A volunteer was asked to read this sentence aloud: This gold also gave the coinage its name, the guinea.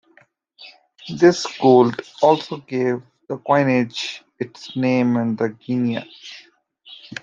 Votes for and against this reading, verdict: 1, 2, rejected